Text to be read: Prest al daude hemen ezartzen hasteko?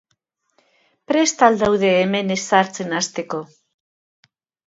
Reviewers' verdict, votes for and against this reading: accepted, 2, 0